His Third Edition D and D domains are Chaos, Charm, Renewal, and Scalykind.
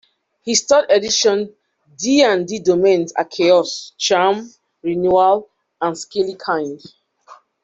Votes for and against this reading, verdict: 2, 0, accepted